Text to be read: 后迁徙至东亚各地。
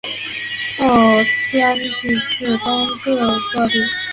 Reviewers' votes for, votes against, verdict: 0, 3, rejected